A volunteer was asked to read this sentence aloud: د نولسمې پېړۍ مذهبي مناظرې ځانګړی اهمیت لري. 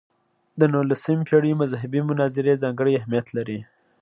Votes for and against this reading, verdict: 2, 0, accepted